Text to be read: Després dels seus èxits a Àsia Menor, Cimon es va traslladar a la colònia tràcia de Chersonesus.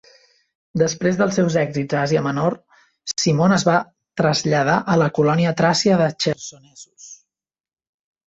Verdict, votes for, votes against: rejected, 0, 2